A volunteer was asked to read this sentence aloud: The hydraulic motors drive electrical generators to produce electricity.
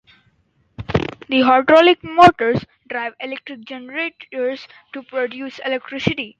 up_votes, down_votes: 2, 2